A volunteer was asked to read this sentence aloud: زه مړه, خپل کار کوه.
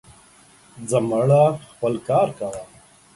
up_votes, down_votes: 2, 1